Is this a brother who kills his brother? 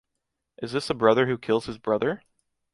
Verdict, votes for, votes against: accepted, 2, 0